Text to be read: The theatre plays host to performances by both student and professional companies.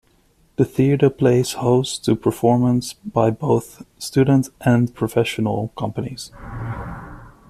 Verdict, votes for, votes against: rejected, 0, 2